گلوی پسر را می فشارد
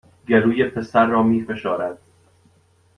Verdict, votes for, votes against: accepted, 2, 0